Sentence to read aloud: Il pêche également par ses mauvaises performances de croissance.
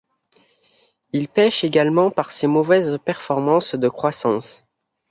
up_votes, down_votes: 2, 0